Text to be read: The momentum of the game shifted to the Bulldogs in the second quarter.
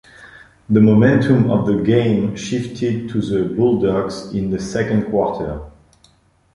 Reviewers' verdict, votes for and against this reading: accepted, 2, 0